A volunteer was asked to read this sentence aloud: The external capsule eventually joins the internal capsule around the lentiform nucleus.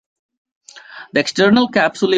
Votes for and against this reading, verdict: 0, 2, rejected